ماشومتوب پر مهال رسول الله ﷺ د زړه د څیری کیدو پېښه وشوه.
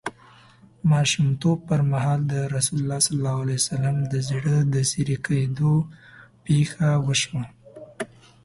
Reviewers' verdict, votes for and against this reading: accepted, 2, 0